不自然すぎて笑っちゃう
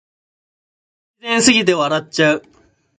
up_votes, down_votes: 0, 2